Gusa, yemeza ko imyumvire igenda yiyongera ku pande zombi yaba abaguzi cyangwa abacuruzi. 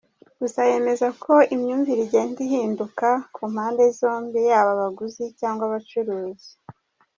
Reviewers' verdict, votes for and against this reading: accepted, 2, 0